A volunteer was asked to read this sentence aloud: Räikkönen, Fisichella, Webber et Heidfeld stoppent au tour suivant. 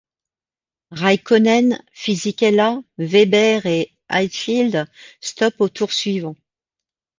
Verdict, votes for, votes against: rejected, 1, 2